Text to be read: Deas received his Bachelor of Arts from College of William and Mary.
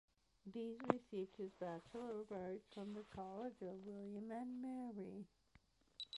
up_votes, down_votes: 0, 2